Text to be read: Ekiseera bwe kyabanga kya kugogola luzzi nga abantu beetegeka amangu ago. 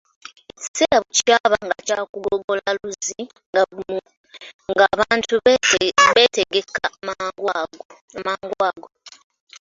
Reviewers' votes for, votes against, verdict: 1, 3, rejected